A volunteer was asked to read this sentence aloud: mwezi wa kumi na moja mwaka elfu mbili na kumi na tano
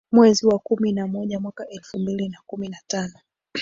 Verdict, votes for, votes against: accepted, 2, 1